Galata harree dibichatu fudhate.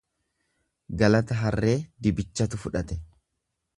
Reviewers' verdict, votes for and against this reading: accepted, 2, 0